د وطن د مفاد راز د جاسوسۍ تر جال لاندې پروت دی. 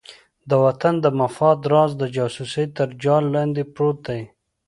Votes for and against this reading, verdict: 3, 0, accepted